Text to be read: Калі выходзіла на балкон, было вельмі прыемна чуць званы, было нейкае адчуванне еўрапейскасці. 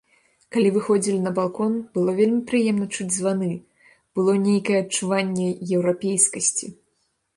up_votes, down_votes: 1, 2